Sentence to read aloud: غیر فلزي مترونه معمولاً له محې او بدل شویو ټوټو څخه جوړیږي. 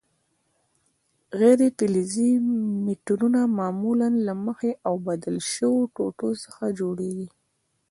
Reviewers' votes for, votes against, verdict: 1, 2, rejected